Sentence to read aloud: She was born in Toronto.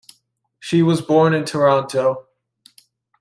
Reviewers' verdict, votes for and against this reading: accepted, 2, 0